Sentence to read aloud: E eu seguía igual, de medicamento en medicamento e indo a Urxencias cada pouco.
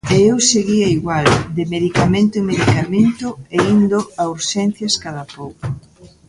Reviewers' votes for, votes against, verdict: 1, 2, rejected